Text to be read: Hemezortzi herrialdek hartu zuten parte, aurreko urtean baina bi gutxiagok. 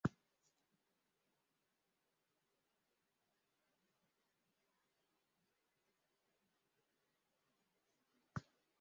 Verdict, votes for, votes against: rejected, 0, 2